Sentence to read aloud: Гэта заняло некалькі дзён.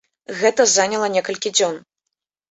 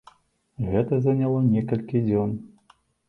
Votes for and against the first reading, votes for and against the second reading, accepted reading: 0, 3, 3, 0, second